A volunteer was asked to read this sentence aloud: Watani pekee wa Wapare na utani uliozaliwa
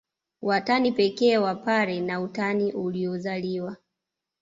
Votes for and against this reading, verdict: 2, 0, accepted